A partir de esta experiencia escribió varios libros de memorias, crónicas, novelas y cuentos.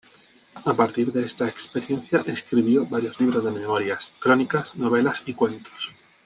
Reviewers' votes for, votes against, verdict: 2, 0, accepted